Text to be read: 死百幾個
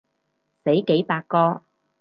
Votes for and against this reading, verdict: 0, 4, rejected